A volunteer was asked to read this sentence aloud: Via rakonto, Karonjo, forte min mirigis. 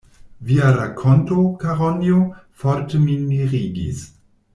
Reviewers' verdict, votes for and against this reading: accepted, 2, 0